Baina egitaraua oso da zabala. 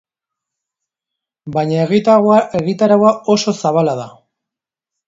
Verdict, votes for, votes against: rejected, 0, 2